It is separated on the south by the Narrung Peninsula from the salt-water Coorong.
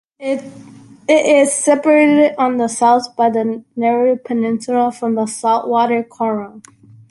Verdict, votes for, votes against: accepted, 2, 1